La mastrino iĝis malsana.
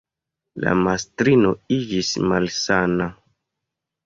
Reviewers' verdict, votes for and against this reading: accepted, 2, 0